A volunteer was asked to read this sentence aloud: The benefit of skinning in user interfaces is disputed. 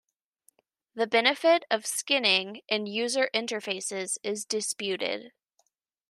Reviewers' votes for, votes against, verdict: 3, 0, accepted